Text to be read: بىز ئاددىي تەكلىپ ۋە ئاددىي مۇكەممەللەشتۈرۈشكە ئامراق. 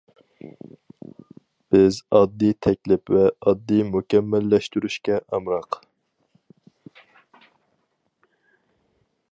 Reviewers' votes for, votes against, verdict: 4, 0, accepted